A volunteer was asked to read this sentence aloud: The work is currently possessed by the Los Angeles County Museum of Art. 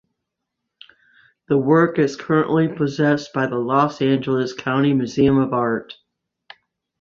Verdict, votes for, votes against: accepted, 2, 0